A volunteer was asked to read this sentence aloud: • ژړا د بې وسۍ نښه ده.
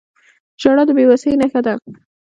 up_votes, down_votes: 2, 0